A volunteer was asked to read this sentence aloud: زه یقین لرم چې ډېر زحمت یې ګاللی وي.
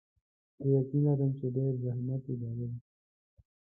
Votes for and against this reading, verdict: 0, 2, rejected